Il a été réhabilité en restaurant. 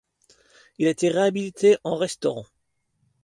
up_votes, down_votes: 2, 0